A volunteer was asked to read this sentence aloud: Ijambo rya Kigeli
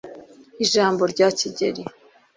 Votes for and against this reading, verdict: 2, 0, accepted